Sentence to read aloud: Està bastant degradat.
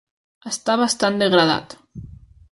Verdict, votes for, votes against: accepted, 3, 0